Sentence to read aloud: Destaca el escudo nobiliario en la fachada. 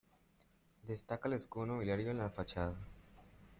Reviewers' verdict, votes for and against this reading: accepted, 2, 1